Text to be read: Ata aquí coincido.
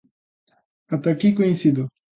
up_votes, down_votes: 2, 0